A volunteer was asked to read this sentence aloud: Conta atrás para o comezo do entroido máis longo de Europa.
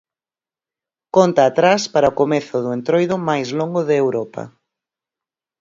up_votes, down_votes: 56, 0